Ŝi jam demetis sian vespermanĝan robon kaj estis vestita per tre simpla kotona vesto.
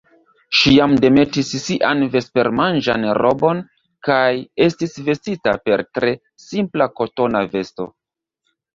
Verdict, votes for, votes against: rejected, 2, 3